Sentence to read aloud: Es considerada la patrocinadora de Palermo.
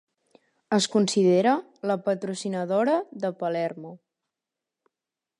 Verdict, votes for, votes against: rejected, 0, 2